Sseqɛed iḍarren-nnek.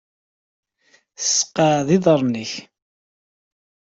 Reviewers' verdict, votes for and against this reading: accepted, 2, 1